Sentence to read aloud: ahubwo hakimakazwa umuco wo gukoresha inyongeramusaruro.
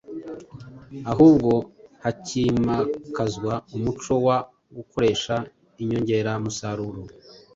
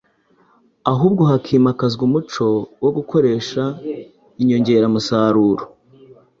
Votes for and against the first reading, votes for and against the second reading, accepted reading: 1, 2, 3, 0, second